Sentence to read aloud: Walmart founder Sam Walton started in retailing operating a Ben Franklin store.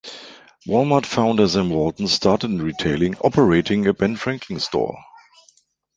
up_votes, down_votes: 2, 0